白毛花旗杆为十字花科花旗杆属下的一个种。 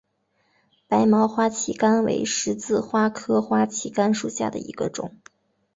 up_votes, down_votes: 2, 1